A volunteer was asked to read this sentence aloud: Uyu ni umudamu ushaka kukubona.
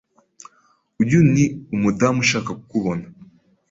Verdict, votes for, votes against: accepted, 2, 0